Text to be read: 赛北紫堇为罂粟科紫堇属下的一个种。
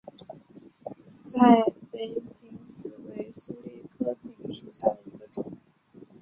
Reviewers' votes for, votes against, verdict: 2, 4, rejected